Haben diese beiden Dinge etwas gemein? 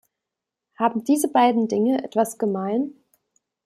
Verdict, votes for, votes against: accepted, 2, 0